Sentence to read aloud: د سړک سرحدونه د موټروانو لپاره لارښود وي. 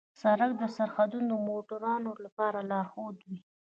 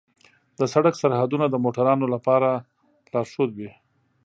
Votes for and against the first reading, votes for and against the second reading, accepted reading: 2, 0, 0, 2, first